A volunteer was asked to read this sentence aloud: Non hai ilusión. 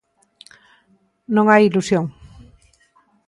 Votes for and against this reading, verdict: 2, 0, accepted